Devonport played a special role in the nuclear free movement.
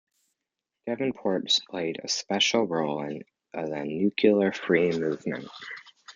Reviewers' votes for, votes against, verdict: 0, 2, rejected